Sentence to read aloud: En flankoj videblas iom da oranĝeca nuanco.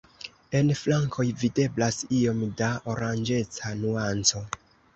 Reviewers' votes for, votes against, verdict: 2, 0, accepted